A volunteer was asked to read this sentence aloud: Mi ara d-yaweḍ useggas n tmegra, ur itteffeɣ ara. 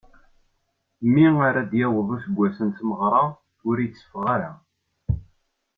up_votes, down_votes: 1, 2